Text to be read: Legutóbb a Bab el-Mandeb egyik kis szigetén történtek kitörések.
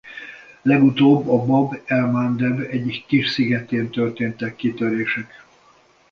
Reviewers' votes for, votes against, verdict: 2, 0, accepted